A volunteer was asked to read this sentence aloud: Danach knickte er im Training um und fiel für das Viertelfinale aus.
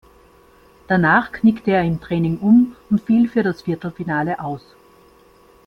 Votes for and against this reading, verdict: 2, 1, accepted